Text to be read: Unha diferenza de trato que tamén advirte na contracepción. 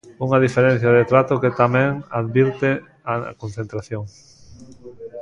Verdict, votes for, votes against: rejected, 0, 2